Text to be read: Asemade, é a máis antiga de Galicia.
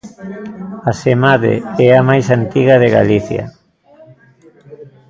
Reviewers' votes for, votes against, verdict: 0, 2, rejected